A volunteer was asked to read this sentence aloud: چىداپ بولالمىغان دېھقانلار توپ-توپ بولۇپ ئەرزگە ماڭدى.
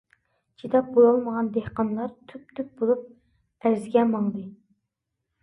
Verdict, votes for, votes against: rejected, 0, 2